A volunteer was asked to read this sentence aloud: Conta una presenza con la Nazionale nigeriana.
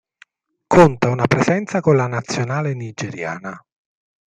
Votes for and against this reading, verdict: 2, 1, accepted